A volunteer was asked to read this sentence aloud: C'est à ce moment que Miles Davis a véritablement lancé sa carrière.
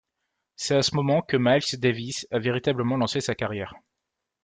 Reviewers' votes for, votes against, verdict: 2, 0, accepted